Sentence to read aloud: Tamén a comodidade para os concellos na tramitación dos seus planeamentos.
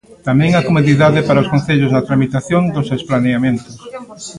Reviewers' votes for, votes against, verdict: 1, 2, rejected